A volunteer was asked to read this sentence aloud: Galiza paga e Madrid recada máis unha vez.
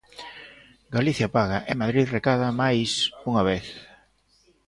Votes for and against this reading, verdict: 0, 2, rejected